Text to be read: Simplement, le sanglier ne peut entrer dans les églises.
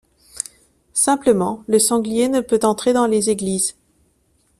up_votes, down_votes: 2, 0